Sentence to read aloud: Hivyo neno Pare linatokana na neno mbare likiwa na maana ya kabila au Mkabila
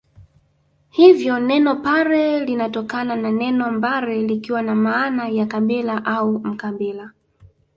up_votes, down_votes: 0, 2